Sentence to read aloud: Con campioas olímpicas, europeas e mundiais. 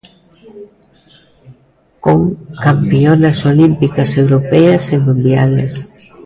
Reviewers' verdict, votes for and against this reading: rejected, 0, 2